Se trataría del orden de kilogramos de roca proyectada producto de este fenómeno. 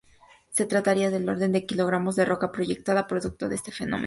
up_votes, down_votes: 2, 2